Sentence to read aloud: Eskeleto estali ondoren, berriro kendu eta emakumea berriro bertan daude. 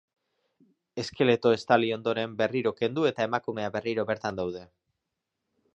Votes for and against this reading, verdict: 2, 0, accepted